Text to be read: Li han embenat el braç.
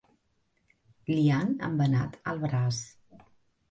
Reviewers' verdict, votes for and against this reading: accepted, 4, 1